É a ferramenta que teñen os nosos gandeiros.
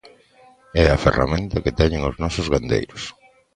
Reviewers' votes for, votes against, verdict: 2, 0, accepted